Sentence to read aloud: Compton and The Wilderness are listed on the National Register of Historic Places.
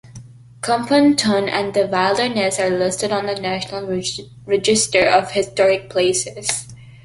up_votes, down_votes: 0, 2